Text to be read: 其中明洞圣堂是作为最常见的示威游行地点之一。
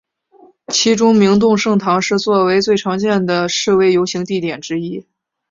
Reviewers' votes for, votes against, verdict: 2, 0, accepted